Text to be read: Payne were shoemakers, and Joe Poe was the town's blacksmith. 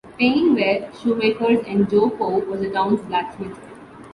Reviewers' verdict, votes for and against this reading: accepted, 2, 1